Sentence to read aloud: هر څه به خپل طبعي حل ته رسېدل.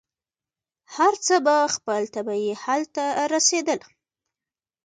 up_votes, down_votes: 1, 2